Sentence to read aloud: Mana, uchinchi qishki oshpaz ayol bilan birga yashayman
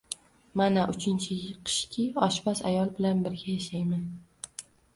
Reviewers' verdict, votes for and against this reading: rejected, 1, 2